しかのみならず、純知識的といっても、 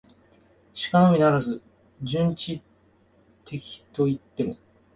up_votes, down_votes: 0, 2